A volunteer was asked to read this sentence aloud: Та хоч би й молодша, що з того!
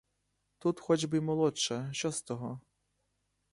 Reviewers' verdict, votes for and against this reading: rejected, 1, 2